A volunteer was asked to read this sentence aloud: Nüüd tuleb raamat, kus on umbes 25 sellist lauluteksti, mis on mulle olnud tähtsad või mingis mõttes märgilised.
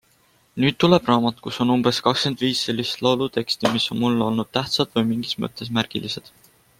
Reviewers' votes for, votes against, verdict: 0, 2, rejected